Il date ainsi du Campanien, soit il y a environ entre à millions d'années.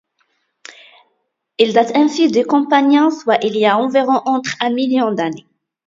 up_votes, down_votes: 1, 2